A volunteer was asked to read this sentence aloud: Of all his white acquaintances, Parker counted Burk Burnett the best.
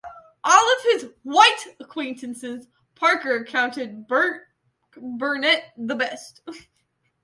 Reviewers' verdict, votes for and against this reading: rejected, 1, 2